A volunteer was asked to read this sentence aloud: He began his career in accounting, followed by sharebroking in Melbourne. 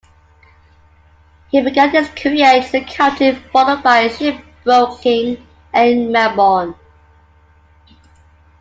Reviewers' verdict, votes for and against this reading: rejected, 0, 2